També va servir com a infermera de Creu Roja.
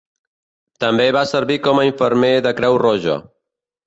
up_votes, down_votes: 0, 2